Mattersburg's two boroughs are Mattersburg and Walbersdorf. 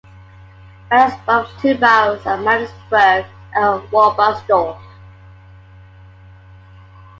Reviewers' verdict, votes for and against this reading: rejected, 1, 3